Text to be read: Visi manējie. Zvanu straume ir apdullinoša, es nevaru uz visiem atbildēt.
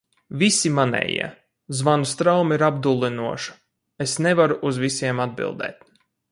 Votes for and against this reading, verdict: 2, 0, accepted